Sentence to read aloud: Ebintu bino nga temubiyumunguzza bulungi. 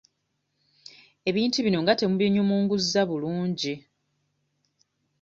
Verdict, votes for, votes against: accepted, 2, 0